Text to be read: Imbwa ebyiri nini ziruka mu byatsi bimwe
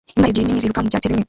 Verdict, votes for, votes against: rejected, 0, 2